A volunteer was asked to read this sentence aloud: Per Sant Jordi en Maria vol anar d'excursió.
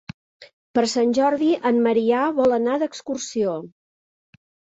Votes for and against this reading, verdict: 0, 2, rejected